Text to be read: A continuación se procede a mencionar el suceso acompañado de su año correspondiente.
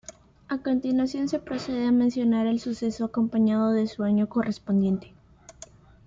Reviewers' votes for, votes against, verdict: 2, 0, accepted